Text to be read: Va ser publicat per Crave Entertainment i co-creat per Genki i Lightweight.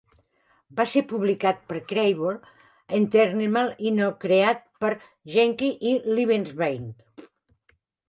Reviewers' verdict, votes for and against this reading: rejected, 0, 2